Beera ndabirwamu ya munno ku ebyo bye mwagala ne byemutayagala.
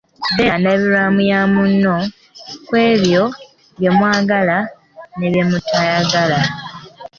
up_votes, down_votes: 2, 0